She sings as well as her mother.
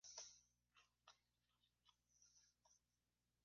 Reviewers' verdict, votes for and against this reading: rejected, 1, 3